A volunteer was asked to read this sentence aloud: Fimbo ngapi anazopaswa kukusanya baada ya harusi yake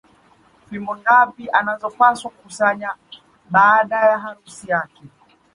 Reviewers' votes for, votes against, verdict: 1, 2, rejected